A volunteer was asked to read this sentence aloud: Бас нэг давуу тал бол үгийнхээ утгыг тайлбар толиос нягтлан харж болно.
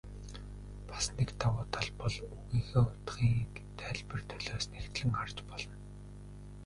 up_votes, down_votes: 1, 2